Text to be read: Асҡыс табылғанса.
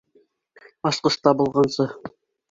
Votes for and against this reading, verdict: 2, 1, accepted